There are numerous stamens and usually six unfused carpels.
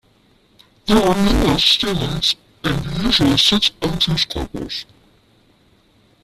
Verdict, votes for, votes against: rejected, 0, 2